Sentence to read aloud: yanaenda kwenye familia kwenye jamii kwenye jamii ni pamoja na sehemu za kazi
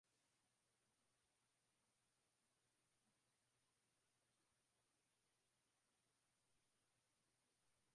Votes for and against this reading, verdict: 0, 2, rejected